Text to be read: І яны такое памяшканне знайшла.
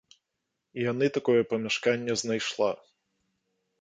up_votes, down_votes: 0, 2